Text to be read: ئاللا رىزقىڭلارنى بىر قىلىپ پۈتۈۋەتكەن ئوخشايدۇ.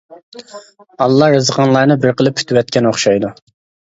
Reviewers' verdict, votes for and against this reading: rejected, 0, 2